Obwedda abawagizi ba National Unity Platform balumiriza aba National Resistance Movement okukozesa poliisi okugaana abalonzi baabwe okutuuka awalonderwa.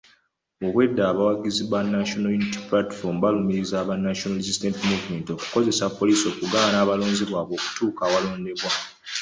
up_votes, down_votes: 2, 0